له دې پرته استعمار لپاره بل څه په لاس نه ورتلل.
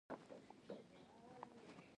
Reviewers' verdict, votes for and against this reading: accepted, 2, 0